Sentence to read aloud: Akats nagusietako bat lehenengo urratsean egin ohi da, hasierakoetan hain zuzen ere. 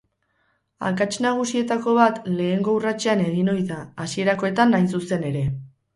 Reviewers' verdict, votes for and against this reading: rejected, 4, 4